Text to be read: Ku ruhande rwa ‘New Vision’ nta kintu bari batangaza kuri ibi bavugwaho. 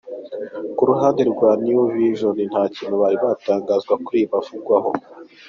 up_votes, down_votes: 2, 0